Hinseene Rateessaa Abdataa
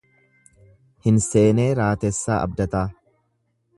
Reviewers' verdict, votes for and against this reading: rejected, 1, 2